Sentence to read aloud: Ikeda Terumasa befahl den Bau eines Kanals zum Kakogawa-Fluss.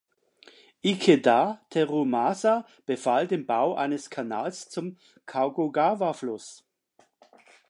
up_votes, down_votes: 1, 2